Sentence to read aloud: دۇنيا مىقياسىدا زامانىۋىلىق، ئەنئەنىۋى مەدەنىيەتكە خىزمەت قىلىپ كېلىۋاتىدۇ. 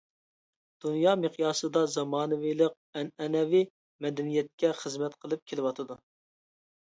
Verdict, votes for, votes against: accepted, 2, 0